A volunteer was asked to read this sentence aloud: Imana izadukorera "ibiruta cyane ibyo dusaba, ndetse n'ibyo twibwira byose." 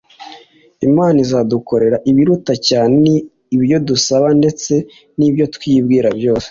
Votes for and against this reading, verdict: 2, 0, accepted